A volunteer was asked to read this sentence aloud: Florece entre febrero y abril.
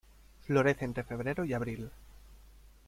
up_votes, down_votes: 2, 0